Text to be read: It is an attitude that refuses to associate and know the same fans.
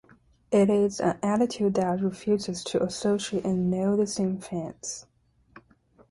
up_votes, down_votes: 2, 0